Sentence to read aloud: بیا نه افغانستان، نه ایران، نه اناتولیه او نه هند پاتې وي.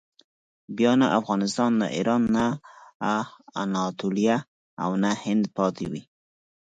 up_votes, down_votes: 6, 0